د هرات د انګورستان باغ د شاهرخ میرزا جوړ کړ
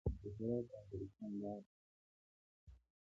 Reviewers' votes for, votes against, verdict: 2, 1, accepted